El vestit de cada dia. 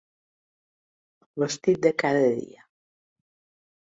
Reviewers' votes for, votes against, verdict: 0, 2, rejected